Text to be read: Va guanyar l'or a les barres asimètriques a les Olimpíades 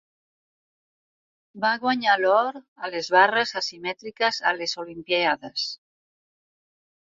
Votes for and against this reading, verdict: 2, 4, rejected